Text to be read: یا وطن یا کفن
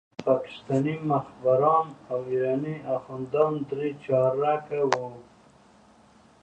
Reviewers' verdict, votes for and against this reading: accepted, 2, 1